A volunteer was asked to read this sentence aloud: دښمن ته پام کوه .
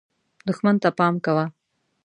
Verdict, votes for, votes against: accepted, 2, 0